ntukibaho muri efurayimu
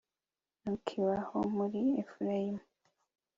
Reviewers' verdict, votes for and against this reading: accepted, 3, 0